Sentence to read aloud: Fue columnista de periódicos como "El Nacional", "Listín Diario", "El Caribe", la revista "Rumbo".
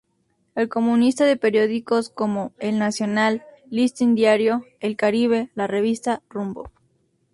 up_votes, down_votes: 0, 2